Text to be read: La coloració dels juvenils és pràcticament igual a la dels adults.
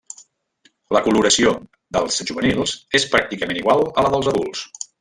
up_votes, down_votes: 3, 1